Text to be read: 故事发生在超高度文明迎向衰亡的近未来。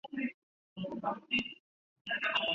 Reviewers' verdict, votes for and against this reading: rejected, 3, 4